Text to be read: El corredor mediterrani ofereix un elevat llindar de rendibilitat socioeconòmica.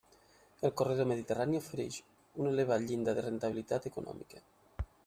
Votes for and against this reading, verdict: 0, 2, rejected